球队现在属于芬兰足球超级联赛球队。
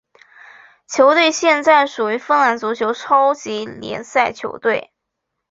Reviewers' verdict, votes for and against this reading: accepted, 2, 1